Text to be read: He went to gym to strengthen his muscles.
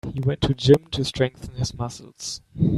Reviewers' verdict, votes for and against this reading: accepted, 2, 0